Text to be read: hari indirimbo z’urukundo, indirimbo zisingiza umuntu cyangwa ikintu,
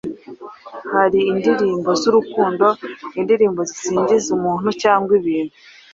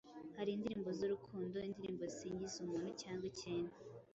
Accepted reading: second